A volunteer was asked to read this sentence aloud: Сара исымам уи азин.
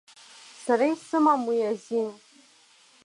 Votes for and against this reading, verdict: 2, 0, accepted